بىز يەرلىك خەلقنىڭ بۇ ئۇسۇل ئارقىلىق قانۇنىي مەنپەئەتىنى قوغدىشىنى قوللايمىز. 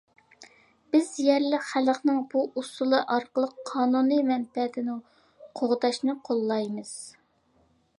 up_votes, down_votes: 0, 2